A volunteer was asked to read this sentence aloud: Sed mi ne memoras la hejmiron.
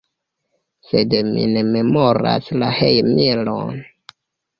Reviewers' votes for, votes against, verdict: 0, 2, rejected